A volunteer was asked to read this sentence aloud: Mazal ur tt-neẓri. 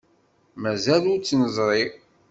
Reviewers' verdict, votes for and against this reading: accepted, 2, 0